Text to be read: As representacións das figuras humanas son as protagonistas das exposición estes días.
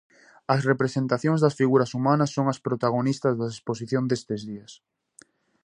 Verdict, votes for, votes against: rejected, 0, 2